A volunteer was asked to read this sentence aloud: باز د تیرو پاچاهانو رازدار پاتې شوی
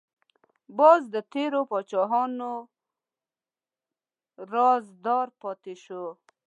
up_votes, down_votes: 0, 2